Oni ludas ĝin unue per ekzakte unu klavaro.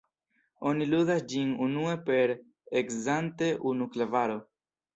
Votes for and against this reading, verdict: 1, 2, rejected